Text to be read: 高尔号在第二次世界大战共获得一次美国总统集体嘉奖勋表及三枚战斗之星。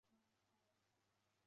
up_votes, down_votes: 0, 3